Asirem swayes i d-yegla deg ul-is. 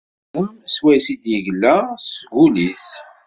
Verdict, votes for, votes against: accepted, 2, 1